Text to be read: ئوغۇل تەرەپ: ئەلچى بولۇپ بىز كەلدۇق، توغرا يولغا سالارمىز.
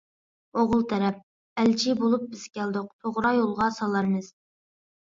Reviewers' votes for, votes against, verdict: 2, 0, accepted